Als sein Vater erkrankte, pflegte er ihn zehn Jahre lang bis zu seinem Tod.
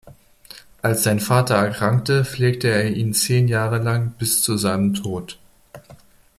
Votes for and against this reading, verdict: 2, 1, accepted